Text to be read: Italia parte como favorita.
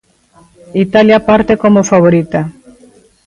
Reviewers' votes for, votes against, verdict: 1, 2, rejected